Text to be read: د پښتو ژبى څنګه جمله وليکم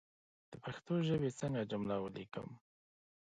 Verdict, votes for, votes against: rejected, 1, 2